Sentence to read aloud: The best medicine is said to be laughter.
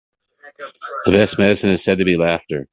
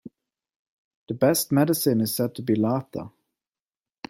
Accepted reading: second